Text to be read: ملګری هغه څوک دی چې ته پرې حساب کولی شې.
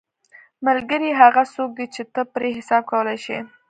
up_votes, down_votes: 2, 0